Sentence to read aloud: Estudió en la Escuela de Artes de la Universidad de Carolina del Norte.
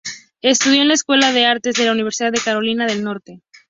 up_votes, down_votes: 2, 0